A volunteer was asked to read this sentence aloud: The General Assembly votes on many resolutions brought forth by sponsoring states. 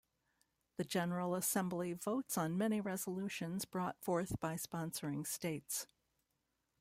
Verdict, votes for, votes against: accepted, 2, 0